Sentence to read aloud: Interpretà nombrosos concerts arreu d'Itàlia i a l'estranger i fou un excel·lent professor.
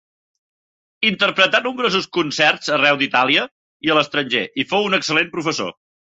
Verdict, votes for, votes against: accepted, 3, 0